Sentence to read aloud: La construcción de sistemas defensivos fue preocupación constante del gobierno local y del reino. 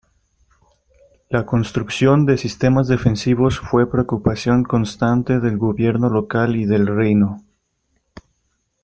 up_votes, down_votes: 2, 0